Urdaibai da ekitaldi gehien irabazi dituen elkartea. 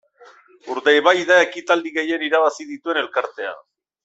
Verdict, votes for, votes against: accepted, 2, 0